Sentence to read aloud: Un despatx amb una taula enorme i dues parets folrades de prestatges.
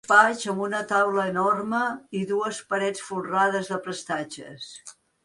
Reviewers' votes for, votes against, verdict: 1, 4, rejected